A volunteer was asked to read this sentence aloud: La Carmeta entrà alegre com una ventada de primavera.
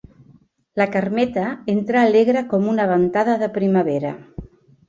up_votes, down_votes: 2, 0